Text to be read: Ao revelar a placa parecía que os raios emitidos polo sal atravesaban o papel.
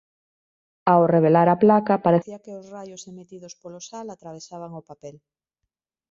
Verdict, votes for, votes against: rejected, 1, 2